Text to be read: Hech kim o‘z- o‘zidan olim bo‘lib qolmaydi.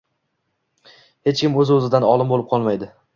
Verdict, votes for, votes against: accepted, 2, 0